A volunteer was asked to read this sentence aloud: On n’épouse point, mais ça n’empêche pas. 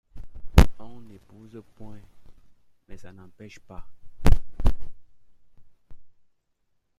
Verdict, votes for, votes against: rejected, 1, 2